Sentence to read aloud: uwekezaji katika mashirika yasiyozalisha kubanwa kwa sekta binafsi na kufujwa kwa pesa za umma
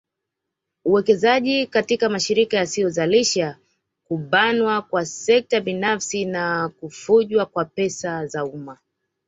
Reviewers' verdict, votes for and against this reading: accepted, 2, 1